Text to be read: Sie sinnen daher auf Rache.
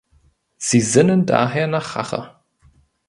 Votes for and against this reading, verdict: 0, 2, rejected